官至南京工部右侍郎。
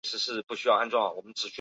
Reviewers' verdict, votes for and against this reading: rejected, 1, 2